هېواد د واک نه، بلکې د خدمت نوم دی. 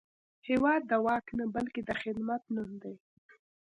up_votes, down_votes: 2, 0